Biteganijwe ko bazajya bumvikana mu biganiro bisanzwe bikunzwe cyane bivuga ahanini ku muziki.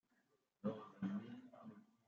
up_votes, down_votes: 0, 2